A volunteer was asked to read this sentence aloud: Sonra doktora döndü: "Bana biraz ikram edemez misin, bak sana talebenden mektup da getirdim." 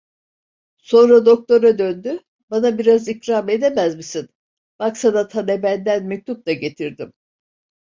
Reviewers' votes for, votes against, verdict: 1, 2, rejected